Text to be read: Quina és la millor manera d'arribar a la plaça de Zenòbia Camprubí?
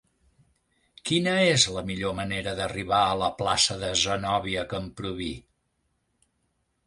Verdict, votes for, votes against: accepted, 4, 0